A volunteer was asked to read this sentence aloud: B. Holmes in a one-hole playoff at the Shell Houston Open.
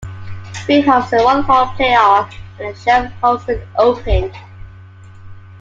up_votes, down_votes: 1, 2